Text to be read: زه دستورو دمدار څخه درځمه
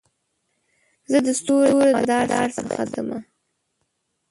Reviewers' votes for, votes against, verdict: 3, 4, rejected